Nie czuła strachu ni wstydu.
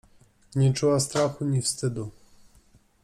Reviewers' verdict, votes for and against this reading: accepted, 2, 0